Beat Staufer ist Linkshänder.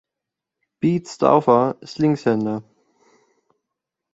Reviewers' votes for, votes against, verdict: 2, 0, accepted